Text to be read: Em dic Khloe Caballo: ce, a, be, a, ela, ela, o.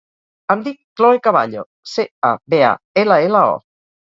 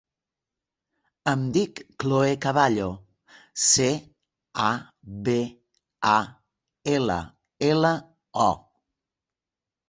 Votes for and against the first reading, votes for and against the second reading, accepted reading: 0, 2, 3, 0, second